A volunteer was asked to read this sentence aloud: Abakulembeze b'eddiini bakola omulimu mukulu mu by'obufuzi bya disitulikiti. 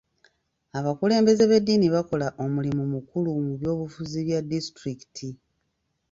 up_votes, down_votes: 1, 2